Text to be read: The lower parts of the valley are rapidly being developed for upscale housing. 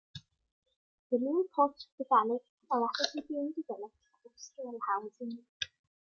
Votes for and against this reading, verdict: 1, 2, rejected